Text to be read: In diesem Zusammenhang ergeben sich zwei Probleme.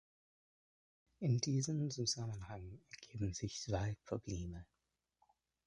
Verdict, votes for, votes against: accepted, 2, 0